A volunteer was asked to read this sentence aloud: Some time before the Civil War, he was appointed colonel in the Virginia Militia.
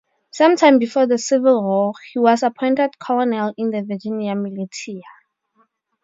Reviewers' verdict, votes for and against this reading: rejected, 2, 2